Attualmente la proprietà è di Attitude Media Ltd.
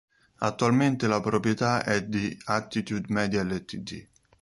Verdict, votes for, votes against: rejected, 1, 2